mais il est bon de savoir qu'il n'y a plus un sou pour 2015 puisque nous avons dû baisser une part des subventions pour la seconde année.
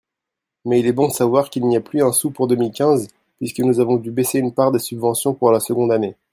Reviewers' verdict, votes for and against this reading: rejected, 0, 2